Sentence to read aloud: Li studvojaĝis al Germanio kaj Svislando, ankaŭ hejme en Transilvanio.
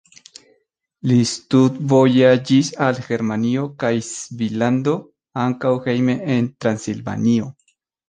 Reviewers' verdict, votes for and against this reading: accepted, 2, 1